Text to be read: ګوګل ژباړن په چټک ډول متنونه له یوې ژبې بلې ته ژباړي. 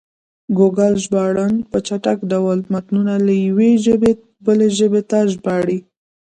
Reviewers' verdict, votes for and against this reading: accepted, 2, 0